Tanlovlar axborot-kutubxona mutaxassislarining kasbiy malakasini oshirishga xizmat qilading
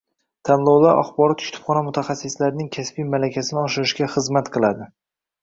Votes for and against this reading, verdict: 2, 0, accepted